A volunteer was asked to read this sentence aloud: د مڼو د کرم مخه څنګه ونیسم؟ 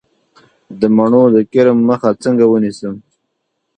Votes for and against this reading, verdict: 2, 1, accepted